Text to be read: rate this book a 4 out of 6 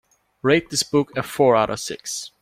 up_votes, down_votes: 0, 2